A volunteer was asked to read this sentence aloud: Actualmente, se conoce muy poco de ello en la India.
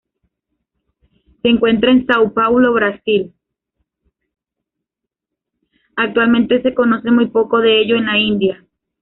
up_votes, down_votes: 0, 2